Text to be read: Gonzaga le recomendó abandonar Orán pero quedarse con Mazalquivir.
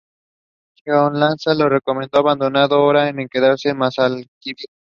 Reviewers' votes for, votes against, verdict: 0, 2, rejected